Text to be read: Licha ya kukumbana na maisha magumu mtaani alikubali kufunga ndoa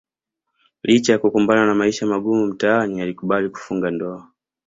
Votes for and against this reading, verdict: 2, 0, accepted